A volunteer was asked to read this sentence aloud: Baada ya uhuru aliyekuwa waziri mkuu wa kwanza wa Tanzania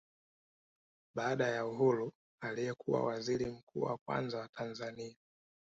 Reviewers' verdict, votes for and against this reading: rejected, 1, 2